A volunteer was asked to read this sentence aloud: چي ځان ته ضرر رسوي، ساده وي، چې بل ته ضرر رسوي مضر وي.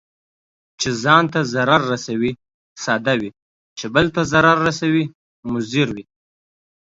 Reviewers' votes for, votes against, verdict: 2, 0, accepted